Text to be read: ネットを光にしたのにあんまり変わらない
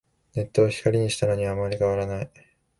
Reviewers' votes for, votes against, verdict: 3, 0, accepted